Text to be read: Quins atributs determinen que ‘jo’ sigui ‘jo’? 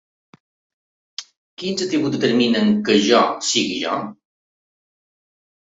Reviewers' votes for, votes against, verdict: 3, 0, accepted